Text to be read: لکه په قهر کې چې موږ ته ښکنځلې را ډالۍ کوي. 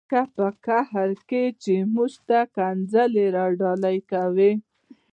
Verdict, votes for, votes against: accepted, 2, 0